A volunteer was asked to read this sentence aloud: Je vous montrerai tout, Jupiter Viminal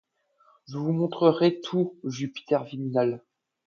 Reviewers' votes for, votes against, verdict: 2, 0, accepted